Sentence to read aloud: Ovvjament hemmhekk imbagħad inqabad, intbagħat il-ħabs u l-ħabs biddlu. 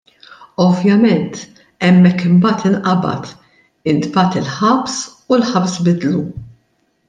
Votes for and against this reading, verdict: 2, 0, accepted